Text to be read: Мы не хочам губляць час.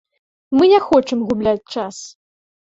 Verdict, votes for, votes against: accepted, 2, 1